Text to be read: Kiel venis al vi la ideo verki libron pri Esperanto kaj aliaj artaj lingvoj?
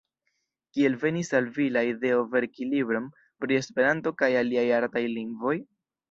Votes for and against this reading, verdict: 0, 2, rejected